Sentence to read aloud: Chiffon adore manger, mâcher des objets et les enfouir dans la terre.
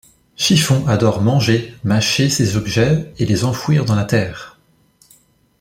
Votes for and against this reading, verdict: 0, 2, rejected